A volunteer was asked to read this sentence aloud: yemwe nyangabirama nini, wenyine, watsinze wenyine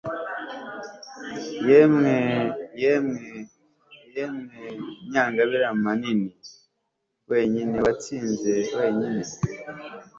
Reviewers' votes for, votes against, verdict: 0, 2, rejected